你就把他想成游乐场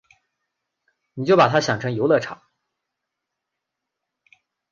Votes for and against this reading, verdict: 5, 0, accepted